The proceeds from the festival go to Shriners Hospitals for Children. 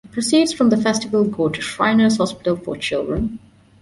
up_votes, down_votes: 1, 2